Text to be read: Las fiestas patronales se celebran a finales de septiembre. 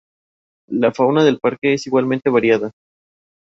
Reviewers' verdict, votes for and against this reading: rejected, 0, 2